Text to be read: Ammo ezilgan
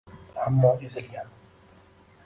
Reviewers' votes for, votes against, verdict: 0, 2, rejected